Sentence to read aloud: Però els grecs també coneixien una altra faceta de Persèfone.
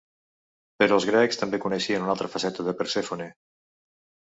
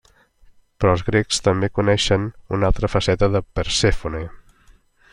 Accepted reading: first